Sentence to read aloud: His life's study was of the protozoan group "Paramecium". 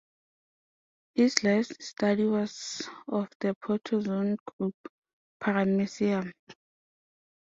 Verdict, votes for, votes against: accepted, 2, 0